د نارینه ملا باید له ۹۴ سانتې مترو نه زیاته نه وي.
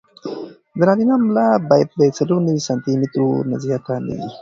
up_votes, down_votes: 0, 2